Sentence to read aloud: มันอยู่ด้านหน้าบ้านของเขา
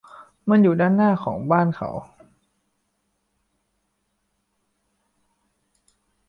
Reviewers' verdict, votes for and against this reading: rejected, 0, 2